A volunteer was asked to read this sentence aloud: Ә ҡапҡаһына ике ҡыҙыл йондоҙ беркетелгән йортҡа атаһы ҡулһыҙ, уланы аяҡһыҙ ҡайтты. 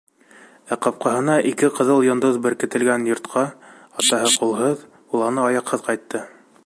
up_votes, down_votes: 1, 2